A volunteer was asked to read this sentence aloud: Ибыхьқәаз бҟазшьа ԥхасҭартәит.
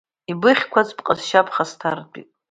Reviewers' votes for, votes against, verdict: 2, 0, accepted